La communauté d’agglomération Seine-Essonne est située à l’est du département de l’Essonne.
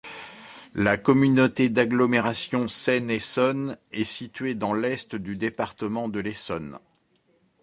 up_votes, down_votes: 0, 2